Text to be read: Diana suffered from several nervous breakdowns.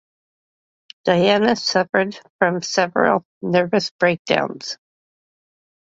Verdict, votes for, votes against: accepted, 2, 0